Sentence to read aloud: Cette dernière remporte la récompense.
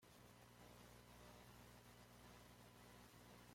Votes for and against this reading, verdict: 0, 2, rejected